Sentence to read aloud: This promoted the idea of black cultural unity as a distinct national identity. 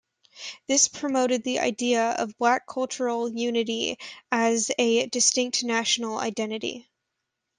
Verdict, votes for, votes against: accepted, 2, 0